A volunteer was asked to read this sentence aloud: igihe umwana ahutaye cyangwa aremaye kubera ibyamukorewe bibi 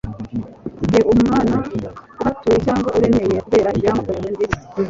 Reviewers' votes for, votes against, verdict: 1, 2, rejected